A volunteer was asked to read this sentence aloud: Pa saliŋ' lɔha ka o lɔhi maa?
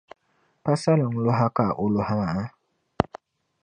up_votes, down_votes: 2, 0